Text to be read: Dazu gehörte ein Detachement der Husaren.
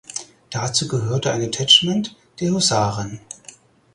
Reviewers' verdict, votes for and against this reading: rejected, 2, 4